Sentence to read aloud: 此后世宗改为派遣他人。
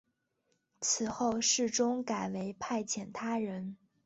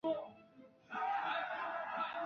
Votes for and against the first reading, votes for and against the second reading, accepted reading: 4, 1, 0, 4, first